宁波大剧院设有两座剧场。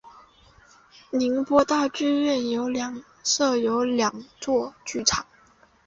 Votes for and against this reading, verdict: 0, 2, rejected